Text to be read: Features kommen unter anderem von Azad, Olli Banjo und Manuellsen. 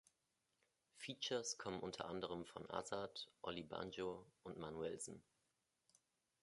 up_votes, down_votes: 2, 0